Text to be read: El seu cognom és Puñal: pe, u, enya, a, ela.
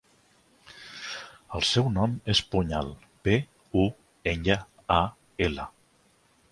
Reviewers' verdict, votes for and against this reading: rejected, 0, 2